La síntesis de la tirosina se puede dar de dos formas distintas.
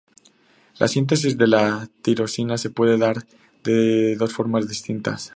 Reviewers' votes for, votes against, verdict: 2, 0, accepted